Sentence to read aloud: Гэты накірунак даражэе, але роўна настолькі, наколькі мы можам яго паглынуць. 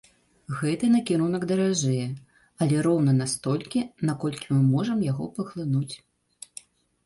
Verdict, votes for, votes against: accepted, 2, 0